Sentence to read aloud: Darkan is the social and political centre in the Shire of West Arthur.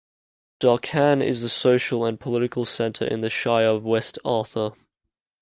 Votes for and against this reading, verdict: 2, 0, accepted